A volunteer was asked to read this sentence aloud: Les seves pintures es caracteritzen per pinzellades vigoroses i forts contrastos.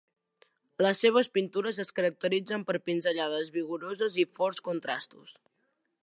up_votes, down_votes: 2, 0